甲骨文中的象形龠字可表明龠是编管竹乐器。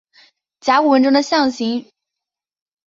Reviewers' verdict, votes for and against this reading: accepted, 2, 1